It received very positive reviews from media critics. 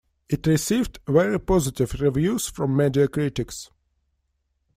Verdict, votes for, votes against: accepted, 2, 0